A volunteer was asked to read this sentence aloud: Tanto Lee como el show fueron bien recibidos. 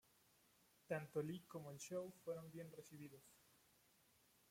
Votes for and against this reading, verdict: 0, 2, rejected